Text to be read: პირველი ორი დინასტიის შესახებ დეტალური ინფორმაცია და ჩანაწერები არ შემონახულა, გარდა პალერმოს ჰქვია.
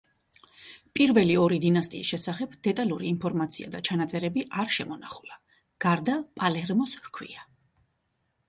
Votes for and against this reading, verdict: 2, 0, accepted